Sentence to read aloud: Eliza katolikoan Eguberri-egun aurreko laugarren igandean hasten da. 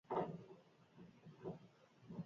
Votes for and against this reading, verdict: 2, 4, rejected